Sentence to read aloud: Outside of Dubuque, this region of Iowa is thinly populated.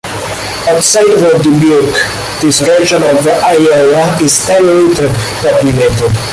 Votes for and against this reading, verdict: 1, 2, rejected